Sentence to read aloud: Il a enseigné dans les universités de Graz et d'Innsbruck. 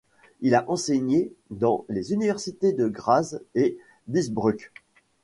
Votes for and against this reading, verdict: 2, 0, accepted